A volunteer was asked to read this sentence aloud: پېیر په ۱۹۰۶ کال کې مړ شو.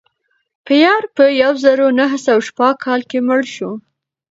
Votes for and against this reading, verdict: 0, 2, rejected